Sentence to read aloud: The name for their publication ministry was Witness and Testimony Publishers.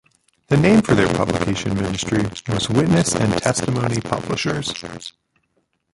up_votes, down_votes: 0, 4